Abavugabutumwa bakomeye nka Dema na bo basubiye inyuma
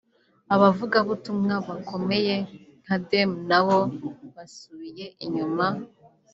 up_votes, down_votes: 2, 0